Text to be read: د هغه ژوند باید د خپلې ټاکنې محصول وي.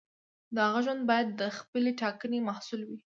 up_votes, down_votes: 2, 0